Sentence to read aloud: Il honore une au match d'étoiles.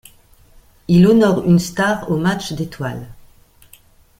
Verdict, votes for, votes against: rejected, 1, 2